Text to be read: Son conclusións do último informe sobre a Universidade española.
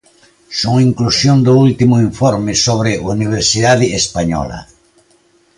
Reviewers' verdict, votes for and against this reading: rejected, 0, 4